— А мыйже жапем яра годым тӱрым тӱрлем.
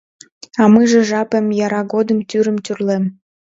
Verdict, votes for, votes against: accepted, 2, 0